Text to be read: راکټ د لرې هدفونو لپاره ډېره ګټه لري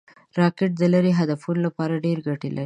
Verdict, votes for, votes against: rejected, 2, 3